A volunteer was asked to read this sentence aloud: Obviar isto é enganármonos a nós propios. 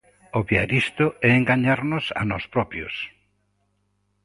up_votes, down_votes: 0, 2